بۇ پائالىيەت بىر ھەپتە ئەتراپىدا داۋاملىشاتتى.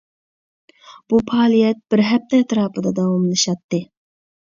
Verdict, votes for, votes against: accepted, 2, 0